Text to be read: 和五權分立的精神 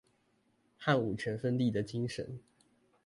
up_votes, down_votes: 2, 0